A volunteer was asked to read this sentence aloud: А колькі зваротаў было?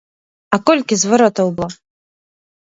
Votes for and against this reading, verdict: 1, 2, rejected